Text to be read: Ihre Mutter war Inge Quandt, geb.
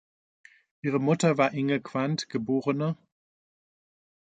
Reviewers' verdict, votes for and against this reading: accepted, 2, 0